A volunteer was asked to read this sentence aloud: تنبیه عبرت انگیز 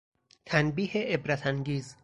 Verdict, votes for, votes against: accepted, 4, 0